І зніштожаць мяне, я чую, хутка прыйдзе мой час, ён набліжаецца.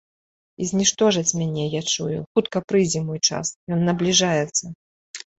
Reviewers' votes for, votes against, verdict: 2, 0, accepted